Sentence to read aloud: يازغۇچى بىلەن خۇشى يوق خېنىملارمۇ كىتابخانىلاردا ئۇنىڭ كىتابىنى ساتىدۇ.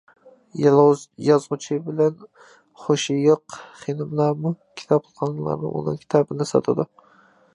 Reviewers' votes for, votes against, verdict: 0, 2, rejected